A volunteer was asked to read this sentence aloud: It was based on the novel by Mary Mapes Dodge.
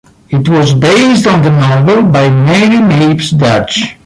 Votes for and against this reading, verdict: 2, 0, accepted